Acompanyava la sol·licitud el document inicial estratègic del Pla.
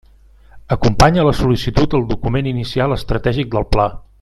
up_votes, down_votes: 0, 2